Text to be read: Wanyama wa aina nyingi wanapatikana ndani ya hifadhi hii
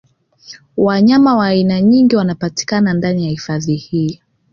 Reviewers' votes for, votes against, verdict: 2, 0, accepted